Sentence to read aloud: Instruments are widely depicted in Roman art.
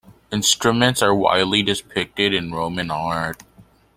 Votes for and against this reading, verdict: 0, 2, rejected